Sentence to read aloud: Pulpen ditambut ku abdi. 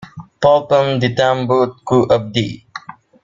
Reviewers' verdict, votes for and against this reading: accepted, 2, 0